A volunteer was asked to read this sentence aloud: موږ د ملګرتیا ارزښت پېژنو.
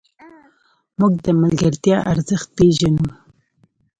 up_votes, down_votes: 2, 0